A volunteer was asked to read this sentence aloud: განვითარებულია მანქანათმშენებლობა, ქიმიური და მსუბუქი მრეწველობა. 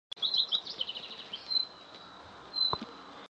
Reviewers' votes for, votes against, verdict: 0, 2, rejected